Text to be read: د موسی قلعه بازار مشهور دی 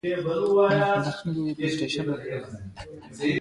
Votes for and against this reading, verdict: 3, 2, accepted